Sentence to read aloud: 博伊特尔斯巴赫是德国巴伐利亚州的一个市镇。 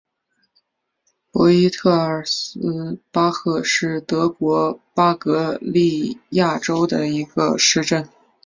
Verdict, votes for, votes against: rejected, 1, 2